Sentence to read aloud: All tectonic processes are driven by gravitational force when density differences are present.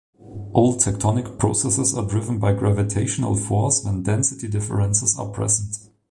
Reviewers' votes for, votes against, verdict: 2, 0, accepted